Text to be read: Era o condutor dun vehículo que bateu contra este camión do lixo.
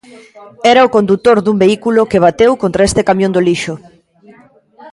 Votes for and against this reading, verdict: 1, 2, rejected